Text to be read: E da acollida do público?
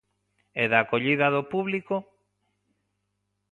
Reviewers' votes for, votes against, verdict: 2, 0, accepted